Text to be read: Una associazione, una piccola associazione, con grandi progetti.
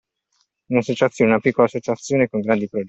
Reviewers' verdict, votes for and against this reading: rejected, 0, 2